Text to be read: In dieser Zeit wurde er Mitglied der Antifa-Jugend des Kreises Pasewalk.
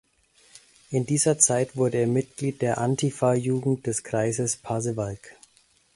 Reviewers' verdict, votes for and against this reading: accepted, 2, 0